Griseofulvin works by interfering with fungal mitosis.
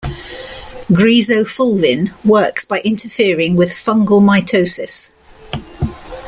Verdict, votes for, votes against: accepted, 2, 0